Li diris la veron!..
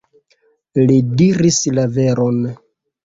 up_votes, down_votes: 0, 2